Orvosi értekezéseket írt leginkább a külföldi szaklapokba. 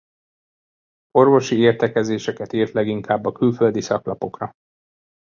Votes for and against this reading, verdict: 0, 2, rejected